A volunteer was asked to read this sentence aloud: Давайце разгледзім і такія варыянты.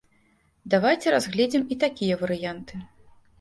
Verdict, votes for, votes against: accepted, 2, 0